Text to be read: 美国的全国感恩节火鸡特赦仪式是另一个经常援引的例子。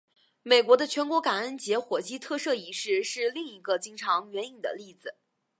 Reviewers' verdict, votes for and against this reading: accepted, 4, 0